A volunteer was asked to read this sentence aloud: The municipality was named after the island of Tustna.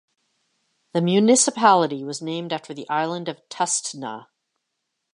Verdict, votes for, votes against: accepted, 2, 0